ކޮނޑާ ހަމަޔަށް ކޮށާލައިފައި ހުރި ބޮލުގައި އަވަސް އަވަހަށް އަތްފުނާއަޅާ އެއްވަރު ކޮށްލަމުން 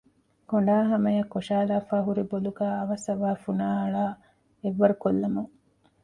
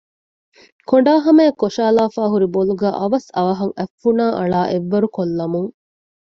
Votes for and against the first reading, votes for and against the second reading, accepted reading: 0, 2, 2, 0, second